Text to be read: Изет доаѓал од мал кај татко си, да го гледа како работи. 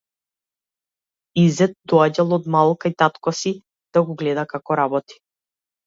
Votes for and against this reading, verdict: 2, 0, accepted